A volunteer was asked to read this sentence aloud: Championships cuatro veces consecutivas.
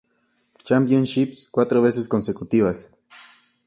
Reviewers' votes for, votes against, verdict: 2, 0, accepted